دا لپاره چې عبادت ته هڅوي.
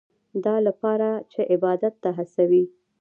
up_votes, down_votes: 2, 1